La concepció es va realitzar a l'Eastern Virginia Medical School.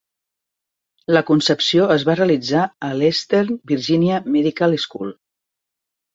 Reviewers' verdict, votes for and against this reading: accepted, 3, 0